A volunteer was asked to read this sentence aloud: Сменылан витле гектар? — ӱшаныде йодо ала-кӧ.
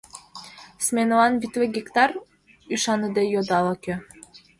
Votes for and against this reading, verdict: 2, 0, accepted